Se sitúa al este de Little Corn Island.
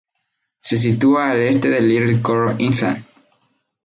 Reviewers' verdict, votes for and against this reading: rejected, 0, 2